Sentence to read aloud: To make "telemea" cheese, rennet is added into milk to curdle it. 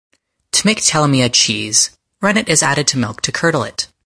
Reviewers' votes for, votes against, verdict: 2, 1, accepted